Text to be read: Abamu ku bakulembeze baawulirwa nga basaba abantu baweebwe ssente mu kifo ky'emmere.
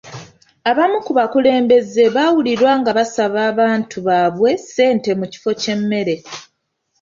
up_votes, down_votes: 1, 2